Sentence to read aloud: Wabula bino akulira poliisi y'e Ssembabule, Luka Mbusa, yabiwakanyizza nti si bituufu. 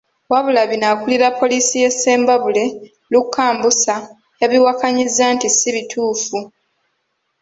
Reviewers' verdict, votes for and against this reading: rejected, 1, 2